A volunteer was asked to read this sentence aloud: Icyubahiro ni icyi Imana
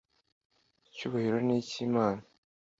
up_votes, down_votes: 2, 0